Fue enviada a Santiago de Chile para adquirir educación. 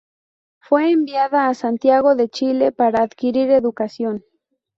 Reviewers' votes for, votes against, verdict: 2, 0, accepted